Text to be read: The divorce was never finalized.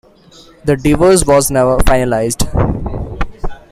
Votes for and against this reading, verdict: 2, 1, accepted